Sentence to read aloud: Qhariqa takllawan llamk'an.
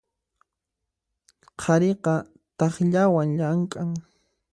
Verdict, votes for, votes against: accepted, 2, 0